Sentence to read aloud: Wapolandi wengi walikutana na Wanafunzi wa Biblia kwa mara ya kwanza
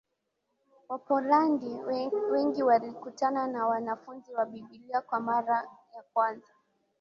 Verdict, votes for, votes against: accepted, 8, 7